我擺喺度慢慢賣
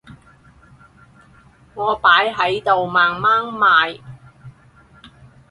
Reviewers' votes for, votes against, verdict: 4, 0, accepted